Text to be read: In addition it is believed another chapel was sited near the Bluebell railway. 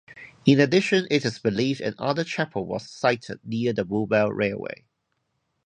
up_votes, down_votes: 2, 2